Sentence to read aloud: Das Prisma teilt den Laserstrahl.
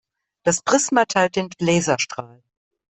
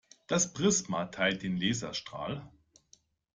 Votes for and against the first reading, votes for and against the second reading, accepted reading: 1, 2, 2, 0, second